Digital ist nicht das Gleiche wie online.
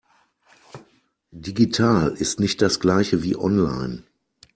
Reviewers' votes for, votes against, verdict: 2, 0, accepted